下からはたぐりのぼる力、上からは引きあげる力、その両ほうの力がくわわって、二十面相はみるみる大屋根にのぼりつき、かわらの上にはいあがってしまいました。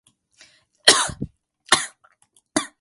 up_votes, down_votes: 0, 4